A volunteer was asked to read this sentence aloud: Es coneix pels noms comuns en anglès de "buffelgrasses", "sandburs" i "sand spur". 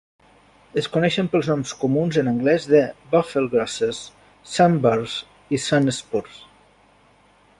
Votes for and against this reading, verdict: 0, 2, rejected